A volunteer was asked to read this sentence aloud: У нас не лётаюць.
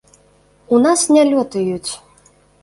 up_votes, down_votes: 2, 0